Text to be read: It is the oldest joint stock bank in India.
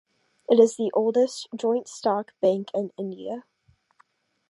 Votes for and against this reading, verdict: 2, 0, accepted